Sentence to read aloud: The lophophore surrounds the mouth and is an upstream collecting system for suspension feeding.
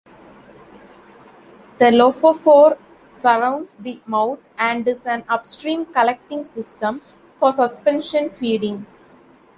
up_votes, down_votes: 2, 1